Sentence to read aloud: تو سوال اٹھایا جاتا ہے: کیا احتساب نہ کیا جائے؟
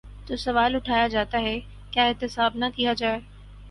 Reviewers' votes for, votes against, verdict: 6, 0, accepted